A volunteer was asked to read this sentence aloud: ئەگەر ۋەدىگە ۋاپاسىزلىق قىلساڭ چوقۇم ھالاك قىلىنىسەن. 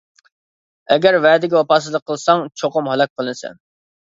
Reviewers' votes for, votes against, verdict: 1, 2, rejected